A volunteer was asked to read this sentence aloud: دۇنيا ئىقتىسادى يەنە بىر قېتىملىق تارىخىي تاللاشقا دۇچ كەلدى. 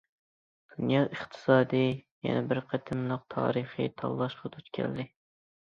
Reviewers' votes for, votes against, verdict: 2, 0, accepted